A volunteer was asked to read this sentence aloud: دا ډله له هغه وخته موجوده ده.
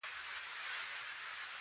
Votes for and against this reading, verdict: 1, 2, rejected